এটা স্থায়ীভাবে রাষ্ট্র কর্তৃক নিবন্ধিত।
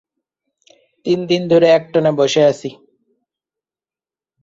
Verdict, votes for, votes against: rejected, 0, 2